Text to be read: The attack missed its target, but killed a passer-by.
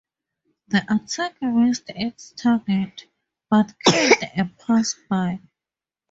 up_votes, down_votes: 2, 2